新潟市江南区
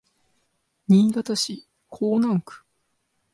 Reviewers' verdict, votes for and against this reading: accepted, 2, 1